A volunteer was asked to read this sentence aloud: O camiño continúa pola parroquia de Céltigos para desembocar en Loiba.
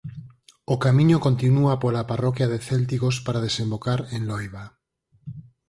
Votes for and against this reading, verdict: 4, 0, accepted